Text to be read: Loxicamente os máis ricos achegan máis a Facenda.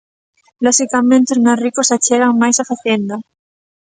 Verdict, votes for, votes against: accepted, 4, 0